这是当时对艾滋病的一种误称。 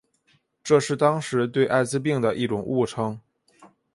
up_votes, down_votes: 2, 1